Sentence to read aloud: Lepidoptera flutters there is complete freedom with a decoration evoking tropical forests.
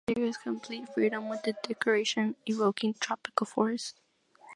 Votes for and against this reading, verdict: 0, 2, rejected